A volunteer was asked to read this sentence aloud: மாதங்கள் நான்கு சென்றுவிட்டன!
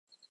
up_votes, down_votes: 0, 2